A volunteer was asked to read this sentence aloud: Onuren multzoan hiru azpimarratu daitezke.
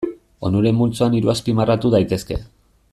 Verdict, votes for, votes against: accepted, 2, 0